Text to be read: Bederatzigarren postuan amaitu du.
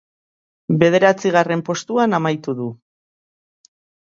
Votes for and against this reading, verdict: 2, 0, accepted